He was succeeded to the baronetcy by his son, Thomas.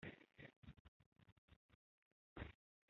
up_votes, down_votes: 0, 2